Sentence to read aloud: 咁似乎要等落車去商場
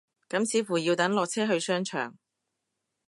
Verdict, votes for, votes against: accepted, 2, 0